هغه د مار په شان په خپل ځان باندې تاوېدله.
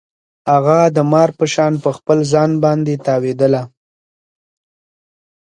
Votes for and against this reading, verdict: 2, 0, accepted